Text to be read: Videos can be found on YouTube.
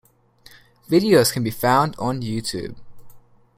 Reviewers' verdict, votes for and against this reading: accepted, 2, 0